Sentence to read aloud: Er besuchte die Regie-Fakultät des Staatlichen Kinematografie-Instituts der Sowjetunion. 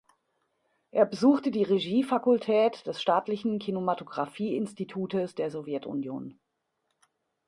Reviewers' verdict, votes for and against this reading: rejected, 0, 2